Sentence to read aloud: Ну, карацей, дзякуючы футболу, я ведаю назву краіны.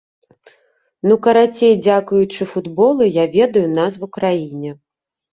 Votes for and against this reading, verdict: 1, 2, rejected